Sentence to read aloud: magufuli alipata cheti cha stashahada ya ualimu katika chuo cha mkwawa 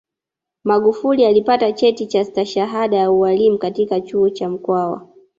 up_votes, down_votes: 1, 2